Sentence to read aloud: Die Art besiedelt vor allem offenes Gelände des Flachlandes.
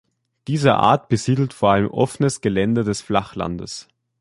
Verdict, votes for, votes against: rejected, 0, 2